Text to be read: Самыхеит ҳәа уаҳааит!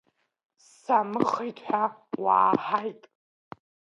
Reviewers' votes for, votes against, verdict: 0, 2, rejected